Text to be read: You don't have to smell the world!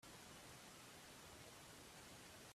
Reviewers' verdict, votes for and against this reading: rejected, 2, 5